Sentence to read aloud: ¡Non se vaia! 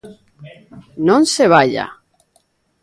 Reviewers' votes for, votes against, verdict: 2, 0, accepted